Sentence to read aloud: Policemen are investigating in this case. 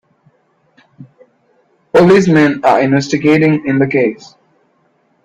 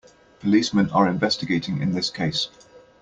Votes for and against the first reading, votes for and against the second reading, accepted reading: 1, 2, 2, 0, second